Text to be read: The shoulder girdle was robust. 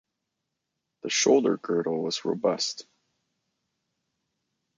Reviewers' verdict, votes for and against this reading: accepted, 2, 0